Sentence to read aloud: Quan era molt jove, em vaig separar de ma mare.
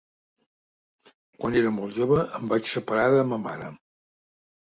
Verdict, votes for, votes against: accepted, 2, 0